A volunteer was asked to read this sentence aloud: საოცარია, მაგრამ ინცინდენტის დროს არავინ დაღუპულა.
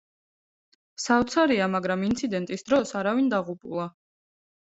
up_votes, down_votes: 2, 0